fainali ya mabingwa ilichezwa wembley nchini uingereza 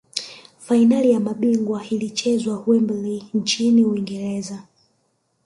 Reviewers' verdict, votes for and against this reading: rejected, 2, 3